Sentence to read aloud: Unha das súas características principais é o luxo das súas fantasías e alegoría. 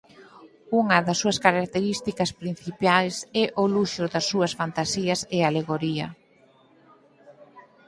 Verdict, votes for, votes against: rejected, 0, 6